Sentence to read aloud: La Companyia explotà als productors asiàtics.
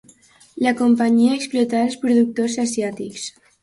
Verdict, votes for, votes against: accepted, 2, 0